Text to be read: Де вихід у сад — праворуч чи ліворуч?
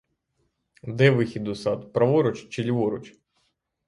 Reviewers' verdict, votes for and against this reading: accepted, 3, 0